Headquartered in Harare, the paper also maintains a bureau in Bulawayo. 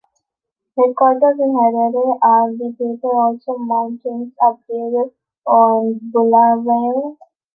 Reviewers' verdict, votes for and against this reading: rejected, 0, 2